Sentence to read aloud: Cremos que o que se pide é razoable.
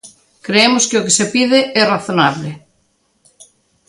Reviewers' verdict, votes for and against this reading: rejected, 0, 2